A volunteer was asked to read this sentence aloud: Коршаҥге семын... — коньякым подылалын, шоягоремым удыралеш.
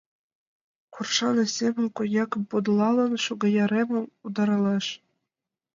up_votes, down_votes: 0, 2